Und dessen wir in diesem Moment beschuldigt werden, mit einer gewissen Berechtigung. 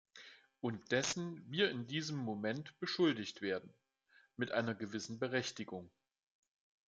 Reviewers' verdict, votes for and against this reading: accepted, 2, 0